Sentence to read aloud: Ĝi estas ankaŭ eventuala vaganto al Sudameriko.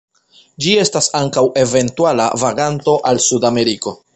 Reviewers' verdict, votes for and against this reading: accepted, 2, 0